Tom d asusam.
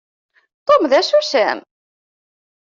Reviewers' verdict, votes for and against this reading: accepted, 2, 0